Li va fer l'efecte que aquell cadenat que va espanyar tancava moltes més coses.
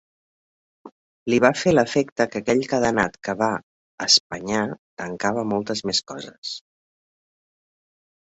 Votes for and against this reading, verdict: 3, 0, accepted